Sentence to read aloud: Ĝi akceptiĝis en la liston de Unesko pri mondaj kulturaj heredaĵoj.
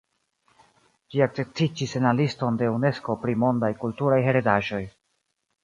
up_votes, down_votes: 1, 2